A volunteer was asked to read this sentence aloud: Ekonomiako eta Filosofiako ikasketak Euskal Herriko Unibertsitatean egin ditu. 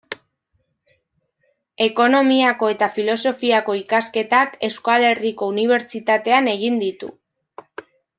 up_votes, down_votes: 2, 0